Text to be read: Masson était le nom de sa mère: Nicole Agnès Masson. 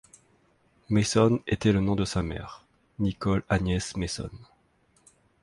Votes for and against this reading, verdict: 1, 2, rejected